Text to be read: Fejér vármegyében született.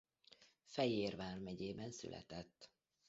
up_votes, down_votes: 1, 2